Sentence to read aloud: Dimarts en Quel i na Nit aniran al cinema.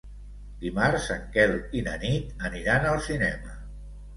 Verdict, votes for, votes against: accepted, 2, 0